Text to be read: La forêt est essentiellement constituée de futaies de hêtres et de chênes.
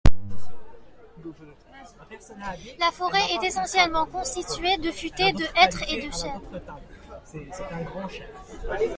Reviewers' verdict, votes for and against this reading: rejected, 0, 2